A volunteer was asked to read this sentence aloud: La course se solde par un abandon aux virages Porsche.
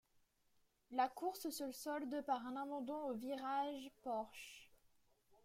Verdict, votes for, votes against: accepted, 2, 0